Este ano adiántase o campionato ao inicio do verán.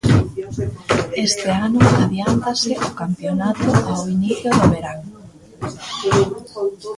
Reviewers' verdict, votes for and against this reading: rejected, 0, 2